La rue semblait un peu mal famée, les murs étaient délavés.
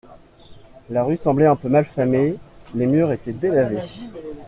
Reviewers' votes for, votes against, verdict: 2, 0, accepted